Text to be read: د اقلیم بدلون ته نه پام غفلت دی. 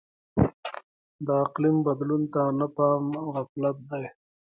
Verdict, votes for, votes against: accepted, 2, 1